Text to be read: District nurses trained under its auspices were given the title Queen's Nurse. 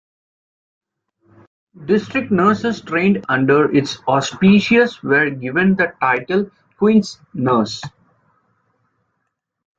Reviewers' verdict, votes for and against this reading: accepted, 2, 0